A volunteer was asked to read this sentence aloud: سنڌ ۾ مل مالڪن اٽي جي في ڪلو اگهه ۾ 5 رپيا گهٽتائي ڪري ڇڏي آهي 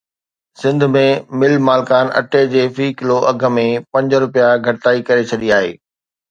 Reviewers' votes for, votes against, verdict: 0, 2, rejected